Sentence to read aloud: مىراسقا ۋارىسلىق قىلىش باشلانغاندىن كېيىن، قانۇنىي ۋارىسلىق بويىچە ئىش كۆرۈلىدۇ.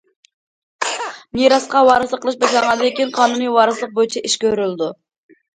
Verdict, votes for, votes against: rejected, 0, 2